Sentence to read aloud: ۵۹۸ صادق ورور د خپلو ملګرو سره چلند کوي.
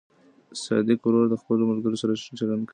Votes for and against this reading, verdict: 0, 2, rejected